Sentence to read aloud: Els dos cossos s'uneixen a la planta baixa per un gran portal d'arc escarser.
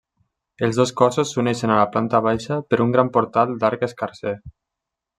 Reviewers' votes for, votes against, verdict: 3, 0, accepted